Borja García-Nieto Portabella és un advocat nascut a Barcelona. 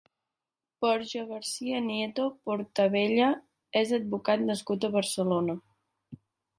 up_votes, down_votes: 0, 2